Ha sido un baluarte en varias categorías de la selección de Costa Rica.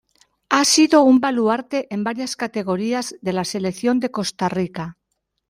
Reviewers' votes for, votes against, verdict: 2, 0, accepted